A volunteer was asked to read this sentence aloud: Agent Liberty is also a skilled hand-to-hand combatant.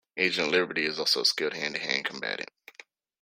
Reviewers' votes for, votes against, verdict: 2, 0, accepted